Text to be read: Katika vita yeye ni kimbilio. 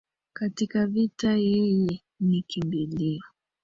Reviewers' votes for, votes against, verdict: 0, 2, rejected